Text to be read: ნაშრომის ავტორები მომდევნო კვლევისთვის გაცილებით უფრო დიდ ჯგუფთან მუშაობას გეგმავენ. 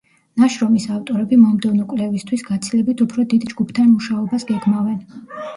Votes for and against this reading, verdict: 1, 2, rejected